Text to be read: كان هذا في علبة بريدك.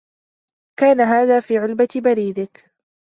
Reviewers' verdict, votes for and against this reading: accepted, 2, 0